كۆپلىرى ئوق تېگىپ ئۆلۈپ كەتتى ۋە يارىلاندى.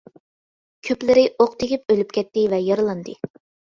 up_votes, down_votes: 2, 0